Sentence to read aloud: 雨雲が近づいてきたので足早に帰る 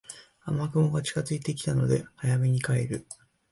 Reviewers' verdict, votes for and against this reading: rejected, 0, 2